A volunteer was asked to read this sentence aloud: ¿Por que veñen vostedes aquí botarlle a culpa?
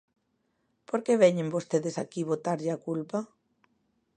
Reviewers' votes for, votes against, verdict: 2, 0, accepted